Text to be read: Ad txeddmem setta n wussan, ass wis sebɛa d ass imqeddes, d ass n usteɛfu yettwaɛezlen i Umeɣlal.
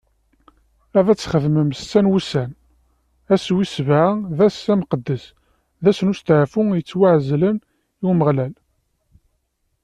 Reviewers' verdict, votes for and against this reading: accepted, 2, 0